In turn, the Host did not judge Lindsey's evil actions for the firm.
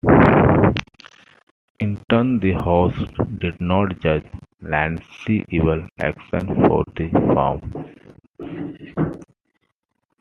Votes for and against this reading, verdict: 0, 2, rejected